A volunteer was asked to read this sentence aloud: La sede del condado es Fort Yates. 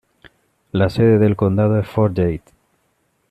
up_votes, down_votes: 2, 0